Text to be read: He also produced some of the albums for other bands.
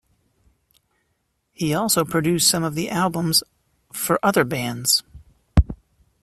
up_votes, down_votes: 2, 0